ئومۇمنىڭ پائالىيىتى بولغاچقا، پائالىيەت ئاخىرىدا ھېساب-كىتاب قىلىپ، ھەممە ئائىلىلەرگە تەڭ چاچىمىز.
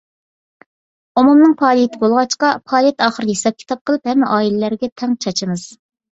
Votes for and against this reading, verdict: 2, 0, accepted